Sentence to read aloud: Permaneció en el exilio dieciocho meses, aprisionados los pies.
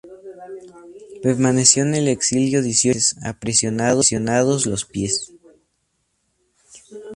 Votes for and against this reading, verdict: 2, 0, accepted